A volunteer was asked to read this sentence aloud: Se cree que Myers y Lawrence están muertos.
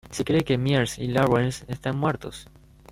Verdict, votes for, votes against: accepted, 2, 1